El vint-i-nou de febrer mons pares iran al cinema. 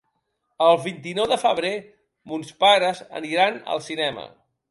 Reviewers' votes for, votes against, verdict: 0, 2, rejected